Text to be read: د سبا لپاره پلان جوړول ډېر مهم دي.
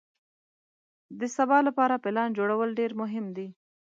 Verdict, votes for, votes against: accepted, 2, 0